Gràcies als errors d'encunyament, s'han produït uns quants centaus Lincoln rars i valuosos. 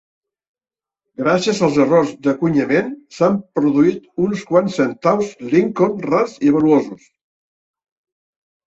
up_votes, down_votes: 0, 2